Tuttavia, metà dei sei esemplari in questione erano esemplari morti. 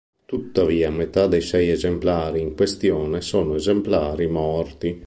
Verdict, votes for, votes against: rejected, 0, 2